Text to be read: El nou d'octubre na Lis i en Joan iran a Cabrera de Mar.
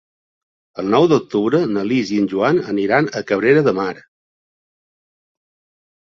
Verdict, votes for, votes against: rejected, 0, 2